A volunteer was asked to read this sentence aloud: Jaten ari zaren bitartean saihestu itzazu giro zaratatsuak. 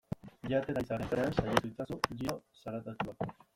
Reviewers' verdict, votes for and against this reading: rejected, 0, 2